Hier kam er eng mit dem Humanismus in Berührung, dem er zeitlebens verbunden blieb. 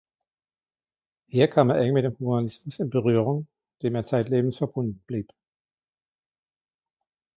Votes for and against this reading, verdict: 2, 0, accepted